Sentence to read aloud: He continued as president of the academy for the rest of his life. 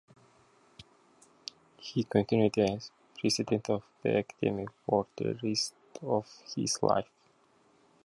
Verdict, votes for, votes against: rejected, 1, 2